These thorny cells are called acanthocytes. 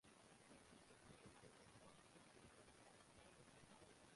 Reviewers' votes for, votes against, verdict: 0, 2, rejected